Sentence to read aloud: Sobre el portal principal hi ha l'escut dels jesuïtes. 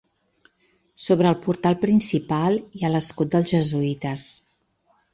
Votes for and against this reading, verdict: 2, 0, accepted